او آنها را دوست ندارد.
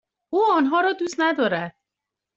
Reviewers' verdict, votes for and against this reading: rejected, 1, 2